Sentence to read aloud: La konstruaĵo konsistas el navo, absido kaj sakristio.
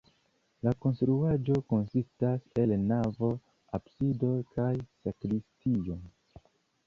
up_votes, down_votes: 0, 2